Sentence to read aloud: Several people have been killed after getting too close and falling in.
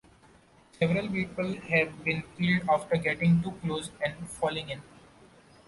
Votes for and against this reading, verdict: 2, 0, accepted